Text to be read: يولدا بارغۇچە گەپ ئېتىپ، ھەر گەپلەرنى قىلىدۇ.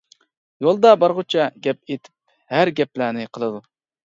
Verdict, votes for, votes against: accepted, 2, 0